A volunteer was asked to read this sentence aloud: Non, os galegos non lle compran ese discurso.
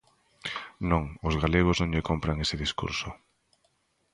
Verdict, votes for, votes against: accepted, 2, 0